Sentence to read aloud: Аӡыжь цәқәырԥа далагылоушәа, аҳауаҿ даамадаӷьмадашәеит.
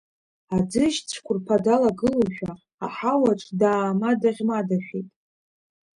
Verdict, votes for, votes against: rejected, 1, 2